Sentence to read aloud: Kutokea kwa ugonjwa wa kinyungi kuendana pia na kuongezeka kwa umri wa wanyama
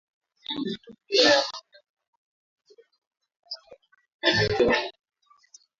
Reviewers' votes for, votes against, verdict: 1, 3, rejected